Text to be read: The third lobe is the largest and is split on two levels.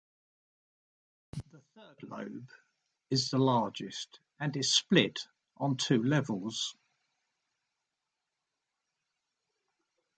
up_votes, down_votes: 0, 2